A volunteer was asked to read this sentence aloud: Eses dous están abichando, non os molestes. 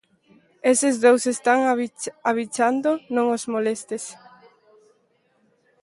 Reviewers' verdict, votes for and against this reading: rejected, 0, 2